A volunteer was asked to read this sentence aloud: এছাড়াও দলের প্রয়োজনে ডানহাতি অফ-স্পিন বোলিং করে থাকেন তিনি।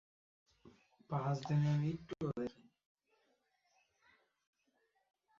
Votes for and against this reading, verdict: 0, 3, rejected